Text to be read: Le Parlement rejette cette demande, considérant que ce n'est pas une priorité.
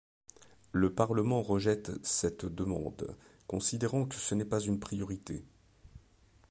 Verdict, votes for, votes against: accepted, 2, 0